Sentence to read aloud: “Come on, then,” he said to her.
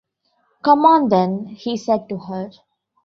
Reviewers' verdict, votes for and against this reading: accepted, 2, 0